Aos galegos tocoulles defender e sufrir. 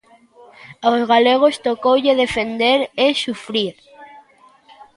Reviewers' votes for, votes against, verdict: 0, 2, rejected